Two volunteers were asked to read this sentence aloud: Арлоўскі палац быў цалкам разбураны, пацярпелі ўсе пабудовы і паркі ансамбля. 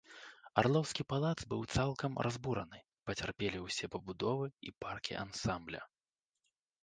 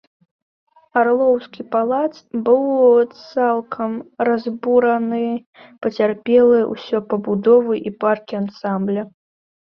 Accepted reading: first